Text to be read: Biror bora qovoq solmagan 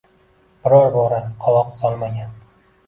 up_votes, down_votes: 1, 2